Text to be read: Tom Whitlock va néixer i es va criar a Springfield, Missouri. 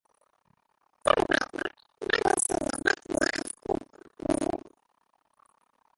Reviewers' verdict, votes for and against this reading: rejected, 0, 2